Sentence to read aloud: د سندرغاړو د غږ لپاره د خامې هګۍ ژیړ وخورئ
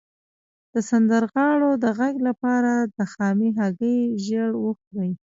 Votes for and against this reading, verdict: 0, 2, rejected